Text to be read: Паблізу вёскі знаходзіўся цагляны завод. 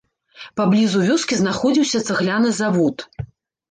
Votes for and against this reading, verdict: 1, 2, rejected